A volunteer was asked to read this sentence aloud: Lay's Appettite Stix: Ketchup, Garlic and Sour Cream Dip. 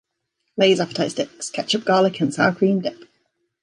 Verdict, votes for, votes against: accepted, 2, 1